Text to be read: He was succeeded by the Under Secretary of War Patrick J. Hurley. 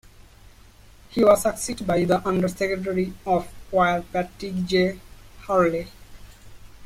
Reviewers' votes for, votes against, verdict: 2, 1, accepted